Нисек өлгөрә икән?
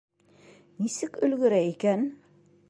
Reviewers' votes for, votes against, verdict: 2, 0, accepted